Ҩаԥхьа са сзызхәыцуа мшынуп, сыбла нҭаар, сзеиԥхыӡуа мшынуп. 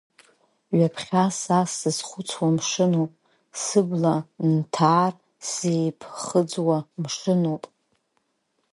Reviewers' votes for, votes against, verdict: 2, 4, rejected